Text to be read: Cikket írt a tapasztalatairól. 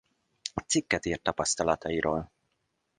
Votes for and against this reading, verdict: 0, 2, rejected